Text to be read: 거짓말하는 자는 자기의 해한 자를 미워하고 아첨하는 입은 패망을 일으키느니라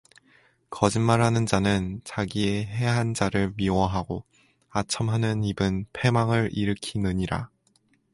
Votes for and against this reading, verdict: 4, 0, accepted